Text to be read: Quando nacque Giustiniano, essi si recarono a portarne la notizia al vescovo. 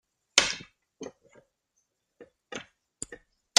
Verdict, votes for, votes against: rejected, 0, 2